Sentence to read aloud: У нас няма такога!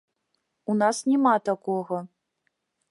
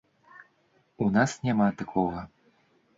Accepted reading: second